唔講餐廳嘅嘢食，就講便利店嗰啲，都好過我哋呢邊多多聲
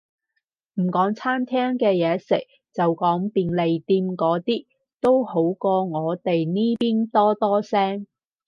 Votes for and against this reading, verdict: 4, 0, accepted